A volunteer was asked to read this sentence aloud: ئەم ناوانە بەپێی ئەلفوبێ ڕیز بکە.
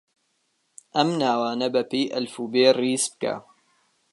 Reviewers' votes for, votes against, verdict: 2, 0, accepted